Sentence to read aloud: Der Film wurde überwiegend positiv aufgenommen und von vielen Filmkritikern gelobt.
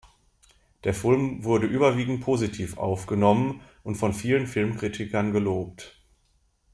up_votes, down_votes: 0, 2